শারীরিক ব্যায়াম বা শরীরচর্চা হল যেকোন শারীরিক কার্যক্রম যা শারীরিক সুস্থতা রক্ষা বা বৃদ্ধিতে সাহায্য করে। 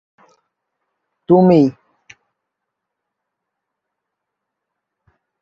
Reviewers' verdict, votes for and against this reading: rejected, 0, 3